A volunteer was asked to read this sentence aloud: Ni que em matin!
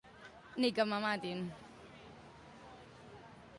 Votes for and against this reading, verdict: 1, 2, rejected